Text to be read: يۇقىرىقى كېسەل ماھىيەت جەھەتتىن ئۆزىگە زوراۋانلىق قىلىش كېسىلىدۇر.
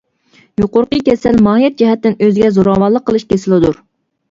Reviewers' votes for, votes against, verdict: 2, 0, accepted